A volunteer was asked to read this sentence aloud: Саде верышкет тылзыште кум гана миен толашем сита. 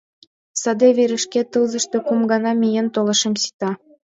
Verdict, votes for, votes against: accepted, 2, 1